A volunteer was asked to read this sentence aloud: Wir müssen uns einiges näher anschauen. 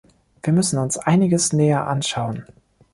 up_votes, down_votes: 2, 0